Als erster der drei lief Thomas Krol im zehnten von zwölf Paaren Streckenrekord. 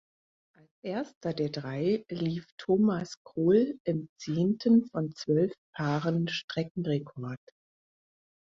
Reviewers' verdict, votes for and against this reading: rejected, 0, 4